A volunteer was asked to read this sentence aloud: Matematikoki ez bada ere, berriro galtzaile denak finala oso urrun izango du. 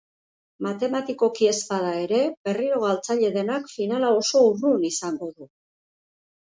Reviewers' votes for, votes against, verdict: 2, 0, accepted